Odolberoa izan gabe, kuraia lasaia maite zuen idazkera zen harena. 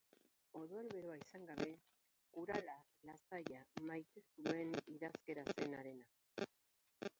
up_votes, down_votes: 0, 4